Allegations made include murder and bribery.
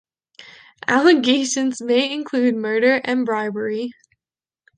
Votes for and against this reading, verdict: 1, 3, rejected